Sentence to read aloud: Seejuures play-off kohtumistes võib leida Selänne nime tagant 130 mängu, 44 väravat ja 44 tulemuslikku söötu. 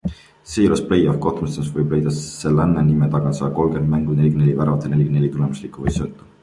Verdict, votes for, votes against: rejected, 0, 2